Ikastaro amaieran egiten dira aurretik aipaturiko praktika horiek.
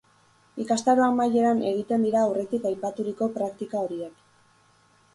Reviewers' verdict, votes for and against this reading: accepted, 2, 0